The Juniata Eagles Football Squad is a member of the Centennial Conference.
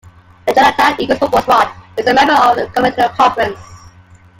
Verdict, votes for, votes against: rejected, 1, 2